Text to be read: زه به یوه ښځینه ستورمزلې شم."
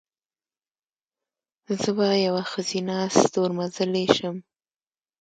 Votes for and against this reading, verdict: 1, 2, rejected